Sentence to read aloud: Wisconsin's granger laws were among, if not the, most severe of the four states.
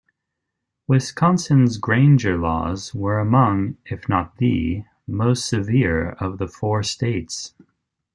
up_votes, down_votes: 1, 2